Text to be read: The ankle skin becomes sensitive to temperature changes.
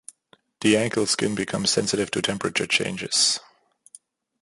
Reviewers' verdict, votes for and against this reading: accepted, 2, 0